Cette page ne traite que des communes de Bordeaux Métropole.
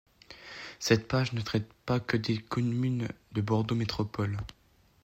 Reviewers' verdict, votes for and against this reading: rejected, 1, 2